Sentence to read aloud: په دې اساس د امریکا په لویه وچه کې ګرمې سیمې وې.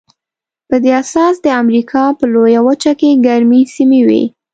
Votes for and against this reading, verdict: 2, 0, accepted